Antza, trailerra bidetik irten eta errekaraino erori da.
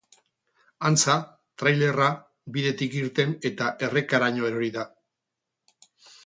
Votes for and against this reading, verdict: 4, 0, accepted